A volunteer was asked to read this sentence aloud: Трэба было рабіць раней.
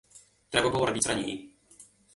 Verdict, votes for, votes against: accepted, 2, 1